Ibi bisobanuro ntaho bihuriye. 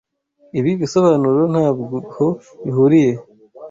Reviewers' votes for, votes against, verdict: 1, 2, rejected